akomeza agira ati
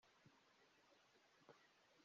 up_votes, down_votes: 1, 2